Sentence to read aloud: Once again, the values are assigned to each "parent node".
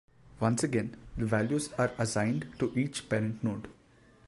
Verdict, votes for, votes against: accepted, 2, 1